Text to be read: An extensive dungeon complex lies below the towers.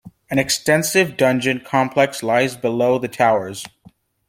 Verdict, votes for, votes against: accepted, 2, 0